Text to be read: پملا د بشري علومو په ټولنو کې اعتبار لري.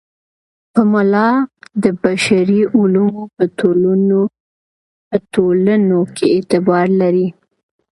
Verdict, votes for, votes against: rejected, 1, 2